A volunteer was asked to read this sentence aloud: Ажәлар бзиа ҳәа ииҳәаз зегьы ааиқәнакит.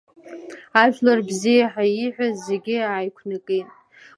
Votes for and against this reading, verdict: 3, 0, accepted